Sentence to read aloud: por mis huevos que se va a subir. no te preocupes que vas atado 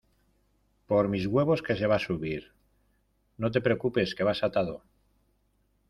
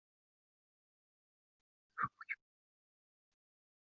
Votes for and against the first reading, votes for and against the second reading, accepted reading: 2, 0, 0, 2, first